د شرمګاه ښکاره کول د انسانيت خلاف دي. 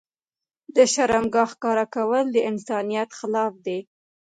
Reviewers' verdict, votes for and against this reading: rejected, 0, 2